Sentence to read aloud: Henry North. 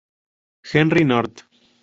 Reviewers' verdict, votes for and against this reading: accepted, 2, 0